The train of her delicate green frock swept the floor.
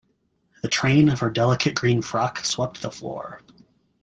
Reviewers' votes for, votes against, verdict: 2, 0, accepted